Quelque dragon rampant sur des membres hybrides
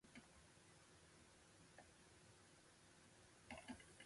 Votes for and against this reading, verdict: 0, 2, rejected